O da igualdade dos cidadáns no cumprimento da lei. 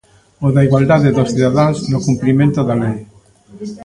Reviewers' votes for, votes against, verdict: 1, 2, rejected